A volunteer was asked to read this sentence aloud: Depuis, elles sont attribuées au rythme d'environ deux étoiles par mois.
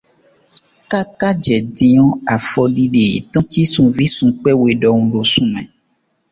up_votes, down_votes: 0, 2